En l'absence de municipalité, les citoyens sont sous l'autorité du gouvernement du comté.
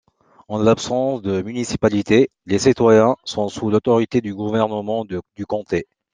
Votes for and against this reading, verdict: 2, 0, accepted